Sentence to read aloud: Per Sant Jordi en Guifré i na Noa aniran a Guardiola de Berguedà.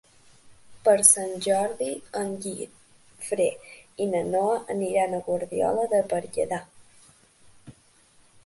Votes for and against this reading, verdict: 2, 1, accepted